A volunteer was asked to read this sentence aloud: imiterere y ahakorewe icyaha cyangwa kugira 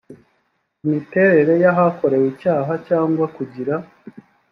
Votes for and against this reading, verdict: 2, 0, accepted